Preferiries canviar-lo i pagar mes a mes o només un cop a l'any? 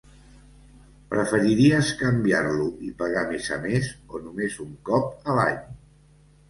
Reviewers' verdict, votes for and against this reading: accepted, 2, 0